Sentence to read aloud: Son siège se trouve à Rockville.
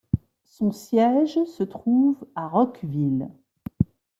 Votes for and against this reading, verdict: 2, 1, accepted